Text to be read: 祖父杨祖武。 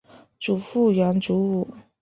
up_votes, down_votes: 2, 0